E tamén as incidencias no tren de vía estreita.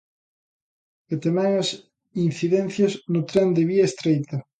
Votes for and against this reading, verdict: 2, 0, accepted